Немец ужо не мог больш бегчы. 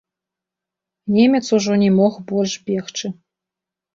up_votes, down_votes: 0, 2